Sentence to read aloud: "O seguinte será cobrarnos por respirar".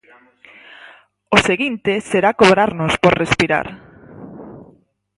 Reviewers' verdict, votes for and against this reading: accepted, 4, 0